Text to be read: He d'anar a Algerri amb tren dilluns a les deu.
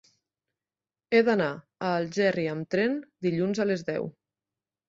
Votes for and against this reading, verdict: 3, 0, accepted